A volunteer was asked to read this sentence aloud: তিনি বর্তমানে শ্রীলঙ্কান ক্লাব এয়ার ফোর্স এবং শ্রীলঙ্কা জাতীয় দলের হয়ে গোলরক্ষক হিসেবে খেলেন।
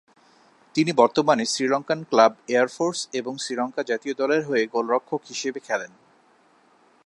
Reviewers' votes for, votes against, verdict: 24, 0, accepted